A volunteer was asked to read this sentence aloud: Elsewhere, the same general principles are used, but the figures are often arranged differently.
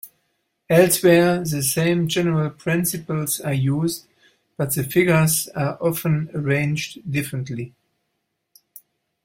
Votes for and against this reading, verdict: 2, 0, accepted